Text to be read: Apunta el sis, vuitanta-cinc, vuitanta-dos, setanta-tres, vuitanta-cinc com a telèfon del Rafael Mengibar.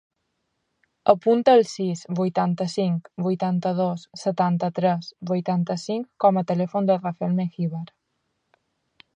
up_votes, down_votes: 3, 1